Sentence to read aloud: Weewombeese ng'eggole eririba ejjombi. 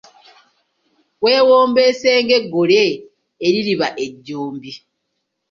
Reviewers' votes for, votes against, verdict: 2, 0, accepted